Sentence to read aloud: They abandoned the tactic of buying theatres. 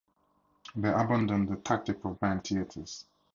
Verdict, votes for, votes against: rejected, 0, 2